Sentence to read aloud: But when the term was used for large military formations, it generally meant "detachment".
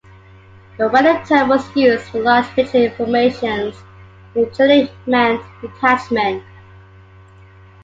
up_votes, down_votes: 1, 2